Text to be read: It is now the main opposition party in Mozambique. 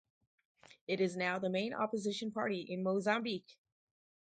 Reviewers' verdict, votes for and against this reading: accepted, 4, 0